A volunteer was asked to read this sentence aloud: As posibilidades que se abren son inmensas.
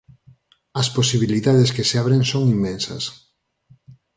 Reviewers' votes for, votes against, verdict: 4, 0, accepted